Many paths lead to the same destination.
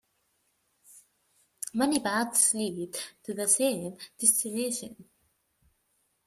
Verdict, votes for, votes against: accepted, 2, 1